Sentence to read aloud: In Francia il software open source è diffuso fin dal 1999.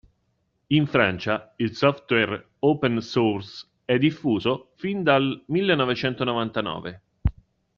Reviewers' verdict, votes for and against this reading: rejected, 0, 2